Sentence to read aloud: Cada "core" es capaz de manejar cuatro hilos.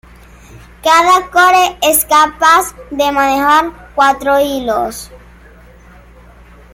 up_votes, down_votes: 0, 2